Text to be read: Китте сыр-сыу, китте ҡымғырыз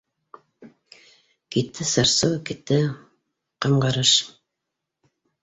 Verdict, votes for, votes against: rejected, 0, 2